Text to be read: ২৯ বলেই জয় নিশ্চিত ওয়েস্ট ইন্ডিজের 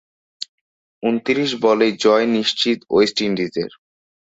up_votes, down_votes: 0, 2